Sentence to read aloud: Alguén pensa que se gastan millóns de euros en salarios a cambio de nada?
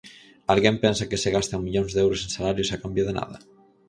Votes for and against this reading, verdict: 4, 0, accepted